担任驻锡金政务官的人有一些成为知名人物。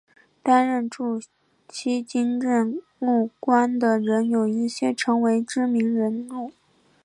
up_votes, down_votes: 5, 1